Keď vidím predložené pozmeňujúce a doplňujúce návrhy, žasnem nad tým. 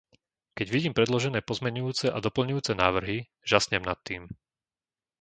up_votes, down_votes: 2, 0